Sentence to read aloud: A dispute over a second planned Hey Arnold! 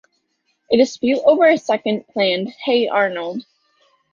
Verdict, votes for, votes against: rejected, 1, 2